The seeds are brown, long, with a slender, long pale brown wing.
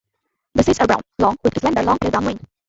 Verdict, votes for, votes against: rejected, 0, 2